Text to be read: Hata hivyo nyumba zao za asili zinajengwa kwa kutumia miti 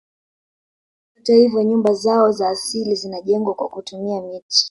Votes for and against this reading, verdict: 2, 1, accepted